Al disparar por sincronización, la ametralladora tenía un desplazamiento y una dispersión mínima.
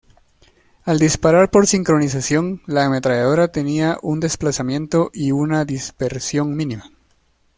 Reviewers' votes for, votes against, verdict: 2, 0, accepted